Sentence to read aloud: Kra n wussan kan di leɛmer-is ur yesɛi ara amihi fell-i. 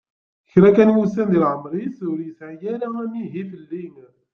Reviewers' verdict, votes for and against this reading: rejected, 0, 2